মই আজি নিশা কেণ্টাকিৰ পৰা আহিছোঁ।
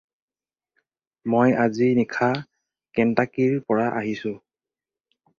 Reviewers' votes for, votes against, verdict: 2, 2, rejected